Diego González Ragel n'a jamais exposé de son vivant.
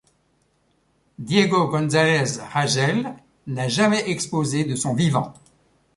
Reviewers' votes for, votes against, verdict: 2, 0, accepted